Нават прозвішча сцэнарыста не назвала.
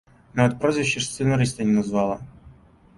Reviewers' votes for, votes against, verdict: 1, 2, rejected